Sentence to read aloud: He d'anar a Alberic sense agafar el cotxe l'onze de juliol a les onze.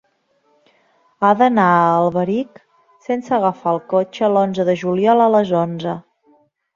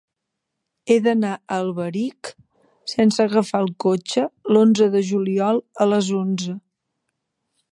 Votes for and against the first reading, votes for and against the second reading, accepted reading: 1, 2, 2, 0, second